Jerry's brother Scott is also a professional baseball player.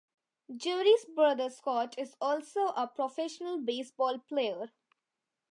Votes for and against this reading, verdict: 2, 0, accepted